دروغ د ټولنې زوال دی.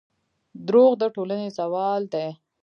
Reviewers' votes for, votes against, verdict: 1, 2, rejected